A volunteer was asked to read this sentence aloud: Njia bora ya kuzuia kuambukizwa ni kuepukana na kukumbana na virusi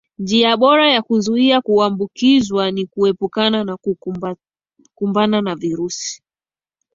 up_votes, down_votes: 2, 0